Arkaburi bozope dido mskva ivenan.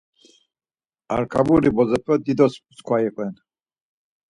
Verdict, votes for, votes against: rejected, 0, 4